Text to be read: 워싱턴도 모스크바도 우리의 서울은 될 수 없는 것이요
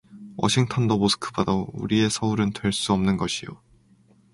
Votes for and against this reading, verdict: 2, 0, accepted